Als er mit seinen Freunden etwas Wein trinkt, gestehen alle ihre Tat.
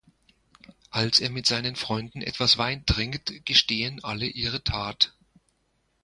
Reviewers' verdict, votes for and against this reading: accepted, 2, 0